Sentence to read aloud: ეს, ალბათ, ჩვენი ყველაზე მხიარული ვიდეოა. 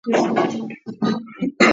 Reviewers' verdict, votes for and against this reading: rejected, 0, 2